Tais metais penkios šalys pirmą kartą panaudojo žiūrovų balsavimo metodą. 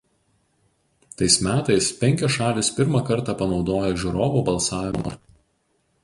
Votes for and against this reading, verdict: 0, 4, rejected